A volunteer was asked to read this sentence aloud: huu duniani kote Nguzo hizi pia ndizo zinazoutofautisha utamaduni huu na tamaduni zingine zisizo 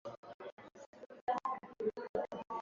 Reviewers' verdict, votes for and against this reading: rejected, 0, 5